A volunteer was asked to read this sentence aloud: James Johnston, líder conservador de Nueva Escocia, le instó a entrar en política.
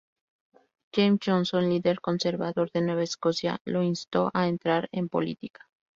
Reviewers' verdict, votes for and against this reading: rejected, 0, 2